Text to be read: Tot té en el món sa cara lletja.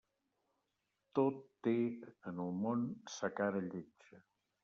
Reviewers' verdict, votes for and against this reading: rejected, 1, 2